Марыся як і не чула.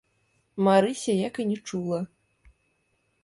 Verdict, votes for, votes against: rejected, 1, 2